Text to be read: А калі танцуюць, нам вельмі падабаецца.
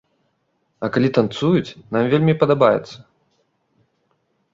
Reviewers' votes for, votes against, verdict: 2, 0, accepted